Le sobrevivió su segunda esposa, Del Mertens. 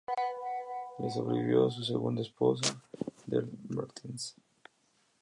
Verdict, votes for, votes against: rejected, 0, 2